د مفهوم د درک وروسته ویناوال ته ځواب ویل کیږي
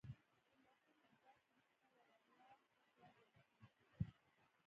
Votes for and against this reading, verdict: 0, 2, rejected